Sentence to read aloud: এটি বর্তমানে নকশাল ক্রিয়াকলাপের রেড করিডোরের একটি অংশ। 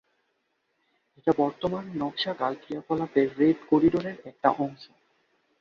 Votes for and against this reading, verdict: 2, 5, rejected